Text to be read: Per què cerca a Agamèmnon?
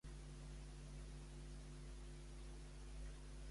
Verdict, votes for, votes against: rejected, 0, 2